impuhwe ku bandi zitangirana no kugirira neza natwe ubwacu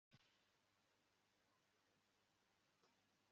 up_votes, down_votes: 1, 2